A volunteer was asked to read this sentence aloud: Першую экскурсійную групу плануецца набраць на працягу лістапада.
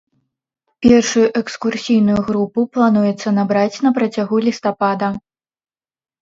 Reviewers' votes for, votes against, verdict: 2, 0, accepted